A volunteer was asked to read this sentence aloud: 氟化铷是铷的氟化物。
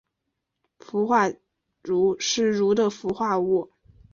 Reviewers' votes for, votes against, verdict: 2, 0, accepted